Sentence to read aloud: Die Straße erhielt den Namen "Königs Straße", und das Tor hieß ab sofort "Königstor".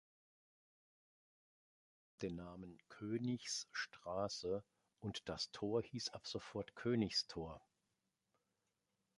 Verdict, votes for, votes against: rejected, 0, 2